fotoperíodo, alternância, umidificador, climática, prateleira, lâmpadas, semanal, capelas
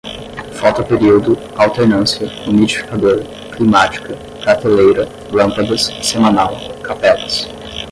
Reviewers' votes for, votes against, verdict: 5, 5, rejected